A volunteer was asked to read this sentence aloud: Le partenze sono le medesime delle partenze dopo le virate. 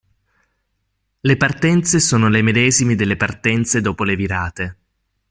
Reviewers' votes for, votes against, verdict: 2, 0, accepted